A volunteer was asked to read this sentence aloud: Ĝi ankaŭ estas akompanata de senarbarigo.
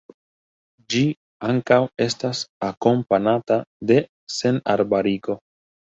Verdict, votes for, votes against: accepted, 2, 0